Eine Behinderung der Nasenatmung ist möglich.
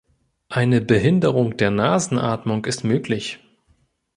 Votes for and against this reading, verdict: 2, 0, accepted